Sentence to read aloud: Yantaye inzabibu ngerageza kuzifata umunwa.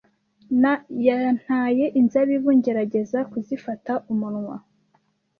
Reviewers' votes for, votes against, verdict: 1, 2, rejected